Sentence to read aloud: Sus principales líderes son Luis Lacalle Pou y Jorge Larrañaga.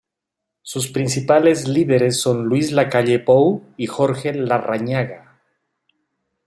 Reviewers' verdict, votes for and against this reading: accepted, 2, 1